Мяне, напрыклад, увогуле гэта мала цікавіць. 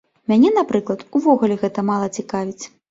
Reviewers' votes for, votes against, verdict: 2, 0, accepted